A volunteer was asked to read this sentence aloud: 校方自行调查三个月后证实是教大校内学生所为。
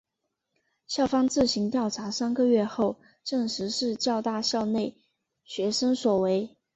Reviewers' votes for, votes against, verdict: 2, 0, accepted